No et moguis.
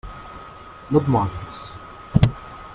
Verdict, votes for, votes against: accepted, 2, 0